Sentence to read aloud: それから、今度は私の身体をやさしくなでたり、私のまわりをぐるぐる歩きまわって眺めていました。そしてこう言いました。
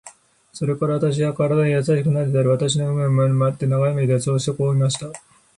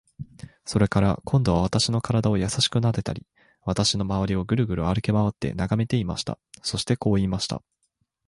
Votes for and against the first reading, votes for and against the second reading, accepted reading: 1, 3, 6, 0, second